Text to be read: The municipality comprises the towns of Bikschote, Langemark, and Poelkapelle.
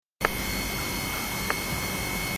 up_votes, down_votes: 0, 2